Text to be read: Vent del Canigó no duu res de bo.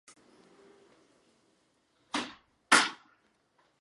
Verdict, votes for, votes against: rejected, 0, 2